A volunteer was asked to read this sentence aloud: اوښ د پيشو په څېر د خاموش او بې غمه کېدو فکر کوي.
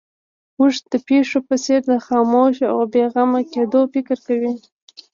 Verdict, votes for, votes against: rejected, 1, 2